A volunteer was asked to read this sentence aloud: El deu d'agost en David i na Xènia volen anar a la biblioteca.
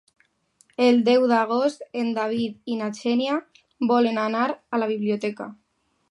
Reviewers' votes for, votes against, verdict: 2, 0, accepted